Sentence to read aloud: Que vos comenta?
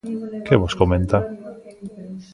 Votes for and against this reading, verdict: 2, 3, rejected